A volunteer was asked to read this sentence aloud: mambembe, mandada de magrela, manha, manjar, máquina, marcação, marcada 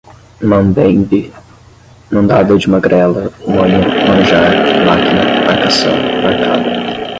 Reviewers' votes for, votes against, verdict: 0, 10, rejected